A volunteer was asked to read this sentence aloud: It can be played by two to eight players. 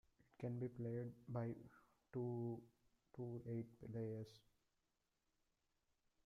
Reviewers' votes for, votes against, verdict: 2, 0, accepted